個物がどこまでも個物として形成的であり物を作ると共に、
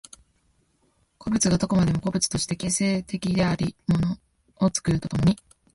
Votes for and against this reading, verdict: 2, 3, rejected